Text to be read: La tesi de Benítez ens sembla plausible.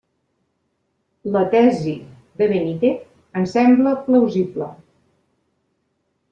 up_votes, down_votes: 0, 2